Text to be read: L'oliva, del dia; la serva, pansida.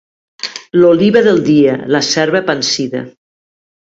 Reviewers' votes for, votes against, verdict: 2, 0, accepted